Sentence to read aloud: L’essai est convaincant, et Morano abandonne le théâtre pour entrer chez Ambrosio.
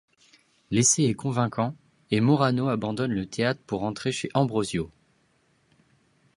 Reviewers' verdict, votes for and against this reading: accepted, 2, 0